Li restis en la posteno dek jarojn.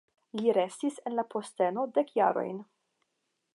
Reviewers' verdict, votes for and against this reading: rejected, 0, 5